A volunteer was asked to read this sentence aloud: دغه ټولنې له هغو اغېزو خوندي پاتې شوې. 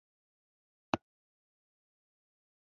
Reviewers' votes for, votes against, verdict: 1, 2, rejected